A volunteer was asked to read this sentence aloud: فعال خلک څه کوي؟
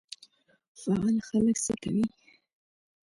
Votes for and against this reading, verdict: 2, 0, accepted